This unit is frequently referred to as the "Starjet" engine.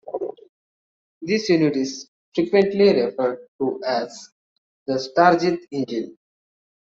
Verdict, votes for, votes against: rejected, 1, 2